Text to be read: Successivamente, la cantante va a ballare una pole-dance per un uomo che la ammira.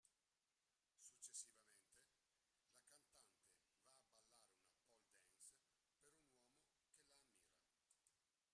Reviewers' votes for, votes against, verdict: 0, 2, rejected